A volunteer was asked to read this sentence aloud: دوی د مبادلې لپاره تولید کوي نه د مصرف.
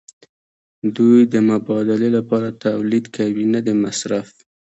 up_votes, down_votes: 1, 2